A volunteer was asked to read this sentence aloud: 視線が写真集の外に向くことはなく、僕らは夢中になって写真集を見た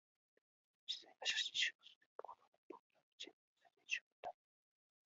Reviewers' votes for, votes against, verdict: 0, 2, rejected